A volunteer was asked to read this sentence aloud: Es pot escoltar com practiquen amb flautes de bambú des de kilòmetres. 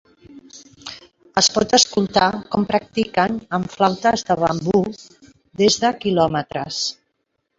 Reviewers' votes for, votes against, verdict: 2, 1, accepted